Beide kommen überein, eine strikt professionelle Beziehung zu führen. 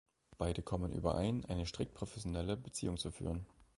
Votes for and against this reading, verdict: 2, 0, accepted